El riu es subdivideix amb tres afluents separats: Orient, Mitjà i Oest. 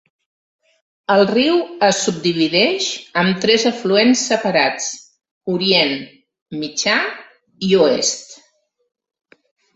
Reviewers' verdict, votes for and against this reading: accepted, 3, 1